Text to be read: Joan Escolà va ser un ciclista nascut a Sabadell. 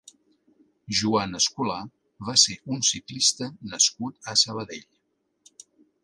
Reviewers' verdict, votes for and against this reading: accepted, 2, 0